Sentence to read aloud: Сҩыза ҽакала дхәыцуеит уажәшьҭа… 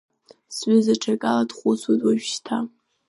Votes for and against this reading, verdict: 3, 1, accepted